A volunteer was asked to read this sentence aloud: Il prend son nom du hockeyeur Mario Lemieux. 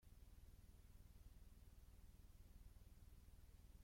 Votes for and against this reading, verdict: 0, 2, rejected